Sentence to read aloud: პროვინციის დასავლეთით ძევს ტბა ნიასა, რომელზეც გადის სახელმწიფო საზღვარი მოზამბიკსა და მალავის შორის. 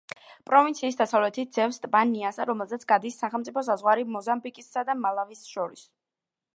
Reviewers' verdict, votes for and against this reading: rejected, 0, 2